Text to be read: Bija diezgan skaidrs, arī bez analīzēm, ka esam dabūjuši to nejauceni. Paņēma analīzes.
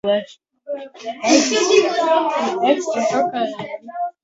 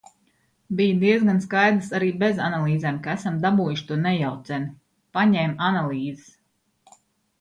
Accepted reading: second